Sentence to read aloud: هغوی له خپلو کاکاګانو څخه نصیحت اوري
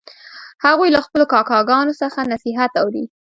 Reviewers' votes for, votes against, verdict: 1, 2, rejected